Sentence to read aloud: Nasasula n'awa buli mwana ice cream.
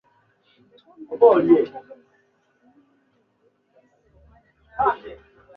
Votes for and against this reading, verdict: 0, 2, rejected